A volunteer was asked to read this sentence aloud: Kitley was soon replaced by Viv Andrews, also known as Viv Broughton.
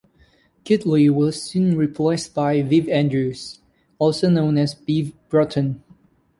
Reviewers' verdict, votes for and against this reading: accepted, 2, 0